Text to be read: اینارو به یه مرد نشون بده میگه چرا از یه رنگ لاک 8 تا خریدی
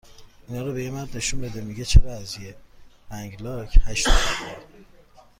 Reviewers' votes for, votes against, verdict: 0, 2, rejected